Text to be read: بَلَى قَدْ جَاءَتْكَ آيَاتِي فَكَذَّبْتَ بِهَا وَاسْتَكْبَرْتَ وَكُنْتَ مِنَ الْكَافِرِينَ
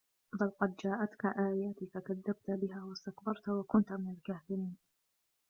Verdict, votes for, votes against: rejected, 1, 2